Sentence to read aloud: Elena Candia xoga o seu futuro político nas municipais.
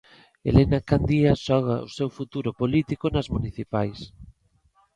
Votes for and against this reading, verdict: 0, 2, rejected